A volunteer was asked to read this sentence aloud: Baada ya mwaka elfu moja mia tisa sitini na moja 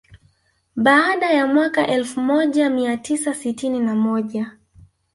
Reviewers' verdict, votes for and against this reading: accepted, 3, 2